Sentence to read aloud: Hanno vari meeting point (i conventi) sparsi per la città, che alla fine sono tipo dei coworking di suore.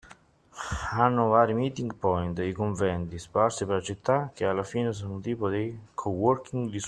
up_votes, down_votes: 0, 2